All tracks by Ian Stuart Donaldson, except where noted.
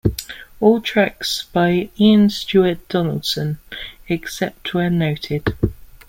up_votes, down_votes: 2, 0